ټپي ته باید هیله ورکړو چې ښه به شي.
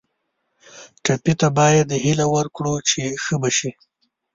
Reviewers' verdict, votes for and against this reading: accepted, 2, 0